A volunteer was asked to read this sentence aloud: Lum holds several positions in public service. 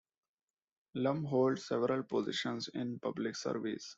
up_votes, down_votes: 2, 0